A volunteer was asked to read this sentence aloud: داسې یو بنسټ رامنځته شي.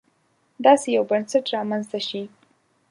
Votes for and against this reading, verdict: 2, 0, accepted